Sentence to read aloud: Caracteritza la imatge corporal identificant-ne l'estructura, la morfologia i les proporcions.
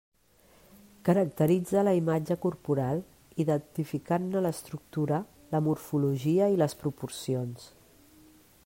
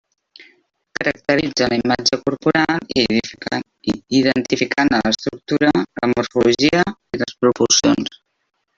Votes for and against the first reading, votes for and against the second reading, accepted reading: 3, 0, 0, 2, first